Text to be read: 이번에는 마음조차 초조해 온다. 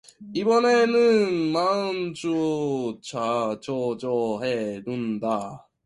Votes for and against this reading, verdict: 0, 2, rejected